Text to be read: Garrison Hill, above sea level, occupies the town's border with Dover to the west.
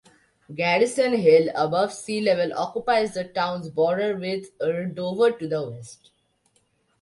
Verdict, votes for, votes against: rejected, 1, 2